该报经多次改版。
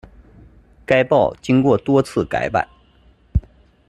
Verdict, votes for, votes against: rejected, 0, 2